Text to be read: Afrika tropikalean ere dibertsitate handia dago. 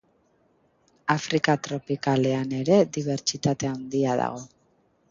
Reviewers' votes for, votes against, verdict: 2, 0, accepted